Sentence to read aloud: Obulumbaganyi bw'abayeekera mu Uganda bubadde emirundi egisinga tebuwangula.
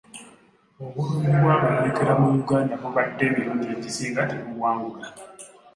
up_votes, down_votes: 0, 2